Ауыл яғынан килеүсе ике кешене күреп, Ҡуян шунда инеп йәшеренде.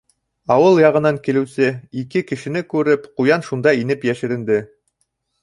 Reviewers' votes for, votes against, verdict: 1, 2, rejected